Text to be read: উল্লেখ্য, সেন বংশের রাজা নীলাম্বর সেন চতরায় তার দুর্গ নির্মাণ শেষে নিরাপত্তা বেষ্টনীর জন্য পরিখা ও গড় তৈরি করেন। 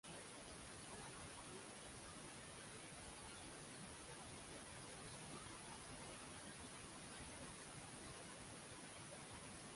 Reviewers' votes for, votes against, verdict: 0, 2, rejected